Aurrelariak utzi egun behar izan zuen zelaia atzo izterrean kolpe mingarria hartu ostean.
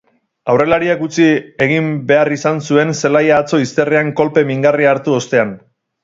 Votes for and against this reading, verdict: 2, 4, rejected